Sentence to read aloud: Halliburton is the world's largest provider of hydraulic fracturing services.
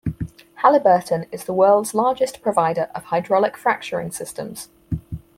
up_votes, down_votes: 2, 4